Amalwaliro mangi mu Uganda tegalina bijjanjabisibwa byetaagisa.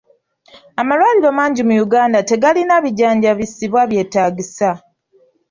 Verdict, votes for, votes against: accepted, 2, 0